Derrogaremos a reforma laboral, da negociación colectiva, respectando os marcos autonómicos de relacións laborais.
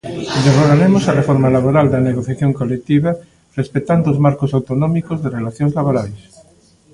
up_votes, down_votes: 0, 2